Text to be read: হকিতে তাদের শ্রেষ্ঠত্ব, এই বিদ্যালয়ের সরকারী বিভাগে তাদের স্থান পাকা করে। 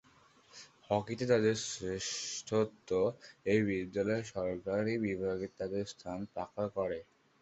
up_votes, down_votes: 0, 2